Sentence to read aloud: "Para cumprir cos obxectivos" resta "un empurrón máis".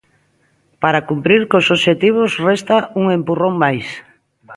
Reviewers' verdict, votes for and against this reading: accepted, 2, 0